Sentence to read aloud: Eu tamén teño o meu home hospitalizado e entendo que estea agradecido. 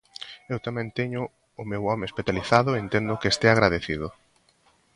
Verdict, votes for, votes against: accepted, 2, 0